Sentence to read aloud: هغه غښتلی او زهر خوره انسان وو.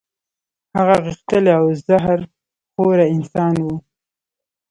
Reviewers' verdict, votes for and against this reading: rejected, 0, 2